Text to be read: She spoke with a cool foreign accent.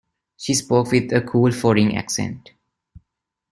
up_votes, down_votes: 2, 1